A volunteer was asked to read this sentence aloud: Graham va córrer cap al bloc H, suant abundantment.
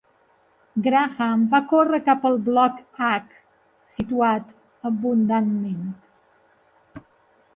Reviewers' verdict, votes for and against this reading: rejected, 0, 2